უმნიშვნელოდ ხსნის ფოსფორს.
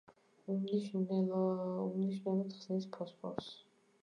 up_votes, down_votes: 0, 2